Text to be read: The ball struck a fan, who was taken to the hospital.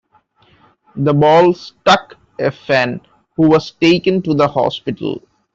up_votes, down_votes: 2, 1